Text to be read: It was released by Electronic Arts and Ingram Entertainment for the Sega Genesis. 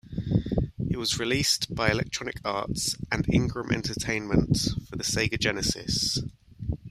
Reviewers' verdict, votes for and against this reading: rejected, 0, 2